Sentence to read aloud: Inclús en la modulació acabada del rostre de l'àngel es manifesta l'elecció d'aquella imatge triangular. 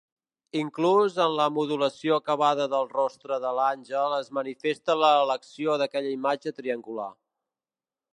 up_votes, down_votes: 0, 2